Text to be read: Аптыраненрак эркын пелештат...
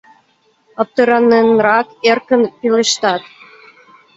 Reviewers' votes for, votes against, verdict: 2, 0, accepted